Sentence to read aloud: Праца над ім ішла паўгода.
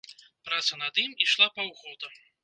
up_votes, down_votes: 2, 0